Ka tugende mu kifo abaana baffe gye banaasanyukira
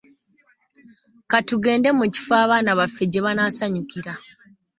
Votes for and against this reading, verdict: 2, 1, accepted